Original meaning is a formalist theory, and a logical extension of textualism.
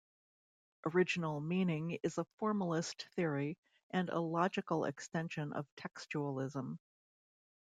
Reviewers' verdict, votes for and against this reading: rejected, 1, 2